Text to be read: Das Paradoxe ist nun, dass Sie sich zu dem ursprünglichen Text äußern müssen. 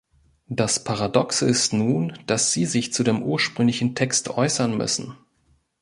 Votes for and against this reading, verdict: 3, 0, accepted